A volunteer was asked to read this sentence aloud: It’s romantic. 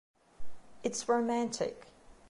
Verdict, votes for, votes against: accepted, 2, 0